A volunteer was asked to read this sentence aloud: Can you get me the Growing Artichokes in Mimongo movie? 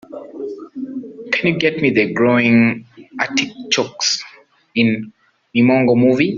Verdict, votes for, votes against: rejected, 0, 2